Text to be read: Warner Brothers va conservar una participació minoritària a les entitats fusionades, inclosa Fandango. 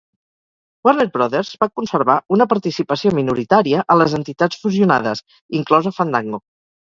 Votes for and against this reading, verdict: 2, 2, rejected